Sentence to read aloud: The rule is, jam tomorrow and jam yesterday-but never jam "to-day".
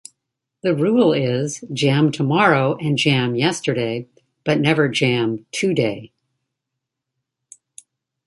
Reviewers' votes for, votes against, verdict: 1, 2, rejected